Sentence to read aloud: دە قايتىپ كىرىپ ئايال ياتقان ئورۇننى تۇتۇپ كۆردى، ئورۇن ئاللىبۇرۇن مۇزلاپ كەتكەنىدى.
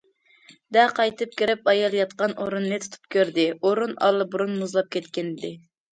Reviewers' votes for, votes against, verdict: 2, 0, accepted